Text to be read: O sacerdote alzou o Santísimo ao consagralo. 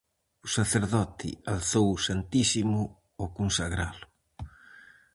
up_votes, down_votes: 4, 0